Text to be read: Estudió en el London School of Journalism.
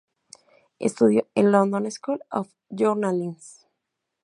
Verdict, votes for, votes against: rejected, 0, 2